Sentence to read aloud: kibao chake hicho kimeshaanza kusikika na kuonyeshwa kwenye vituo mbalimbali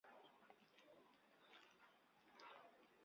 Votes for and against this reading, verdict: 0, 3, rejected